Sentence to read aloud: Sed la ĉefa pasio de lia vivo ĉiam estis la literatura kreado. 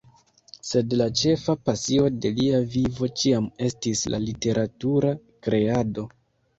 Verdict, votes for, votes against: rejected, 0, 2